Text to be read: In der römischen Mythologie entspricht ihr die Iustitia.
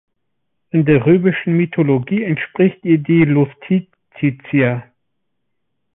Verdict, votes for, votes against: rejected, 0, 2